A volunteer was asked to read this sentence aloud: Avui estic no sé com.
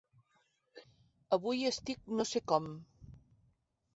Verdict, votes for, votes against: accepted, 3, 0